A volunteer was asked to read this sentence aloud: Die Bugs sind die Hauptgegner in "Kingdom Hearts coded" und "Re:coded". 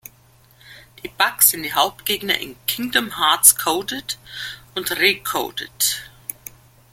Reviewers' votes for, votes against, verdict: 2, 0, accepted